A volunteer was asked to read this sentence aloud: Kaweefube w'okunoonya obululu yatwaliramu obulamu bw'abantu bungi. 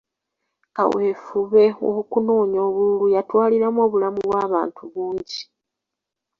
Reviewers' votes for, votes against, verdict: 2, 1, accepted